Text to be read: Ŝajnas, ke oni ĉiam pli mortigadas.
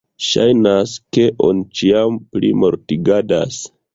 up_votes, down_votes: 0, 2